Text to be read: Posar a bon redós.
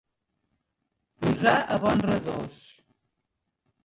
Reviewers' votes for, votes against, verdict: 1, 2, rejected